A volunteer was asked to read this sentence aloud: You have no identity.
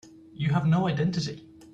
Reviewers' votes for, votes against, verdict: 2, 0, accepted